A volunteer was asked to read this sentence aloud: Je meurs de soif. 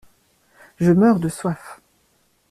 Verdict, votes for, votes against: accepted, 2, 0